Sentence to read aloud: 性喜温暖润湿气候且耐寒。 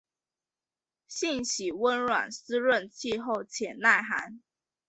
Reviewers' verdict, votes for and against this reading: accepted, 3, 1